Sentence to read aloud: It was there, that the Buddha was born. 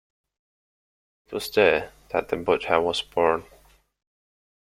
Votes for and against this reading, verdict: 1, 2, rejected